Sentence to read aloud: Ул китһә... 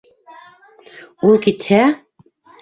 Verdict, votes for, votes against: rejected, 0, 2